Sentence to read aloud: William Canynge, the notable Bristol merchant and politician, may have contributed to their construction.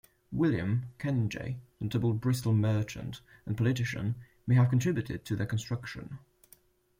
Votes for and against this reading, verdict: 1, 2, rejected